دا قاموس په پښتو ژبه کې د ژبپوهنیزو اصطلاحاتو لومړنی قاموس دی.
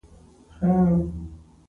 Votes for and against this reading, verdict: 1, 2, rejected